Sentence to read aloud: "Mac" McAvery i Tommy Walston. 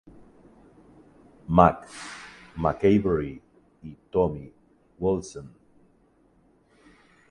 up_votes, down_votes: 0, 6